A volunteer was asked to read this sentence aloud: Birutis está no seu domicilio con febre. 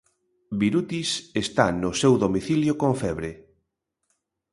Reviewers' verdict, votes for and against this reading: accepted, 2, 0